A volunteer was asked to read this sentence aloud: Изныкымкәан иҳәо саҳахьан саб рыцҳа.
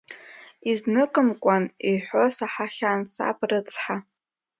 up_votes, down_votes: 2, 0